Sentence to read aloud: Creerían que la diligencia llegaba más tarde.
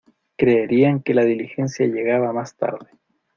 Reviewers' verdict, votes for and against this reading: accepted, 2, 0